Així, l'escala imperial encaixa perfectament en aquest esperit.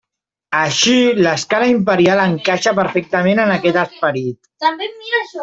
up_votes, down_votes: 0, 2